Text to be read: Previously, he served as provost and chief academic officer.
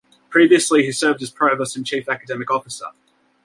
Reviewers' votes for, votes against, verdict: 2, 0, accepted